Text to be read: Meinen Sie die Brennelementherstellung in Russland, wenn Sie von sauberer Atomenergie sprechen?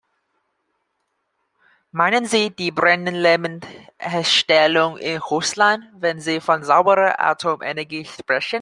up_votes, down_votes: 1, 2